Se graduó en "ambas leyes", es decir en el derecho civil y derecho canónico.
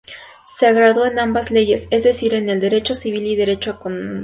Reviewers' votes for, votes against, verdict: 0, 2, rejected